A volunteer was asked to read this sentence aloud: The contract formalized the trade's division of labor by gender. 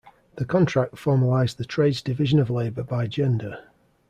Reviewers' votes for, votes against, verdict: 2, 0, accepted